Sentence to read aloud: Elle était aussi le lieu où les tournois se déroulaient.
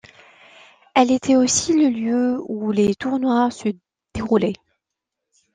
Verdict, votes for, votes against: accepted, 2, 0